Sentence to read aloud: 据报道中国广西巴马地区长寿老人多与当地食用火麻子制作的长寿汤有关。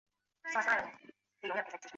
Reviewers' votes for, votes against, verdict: 2, 3, rejected